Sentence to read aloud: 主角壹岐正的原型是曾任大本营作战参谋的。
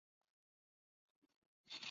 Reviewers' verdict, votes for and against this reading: rejected, 0, 4